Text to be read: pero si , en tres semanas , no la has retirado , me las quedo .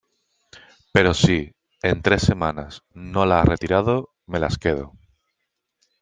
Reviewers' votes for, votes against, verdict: 3, 0, accepted